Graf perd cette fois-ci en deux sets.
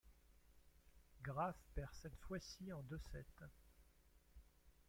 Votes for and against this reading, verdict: 2, 0, accepted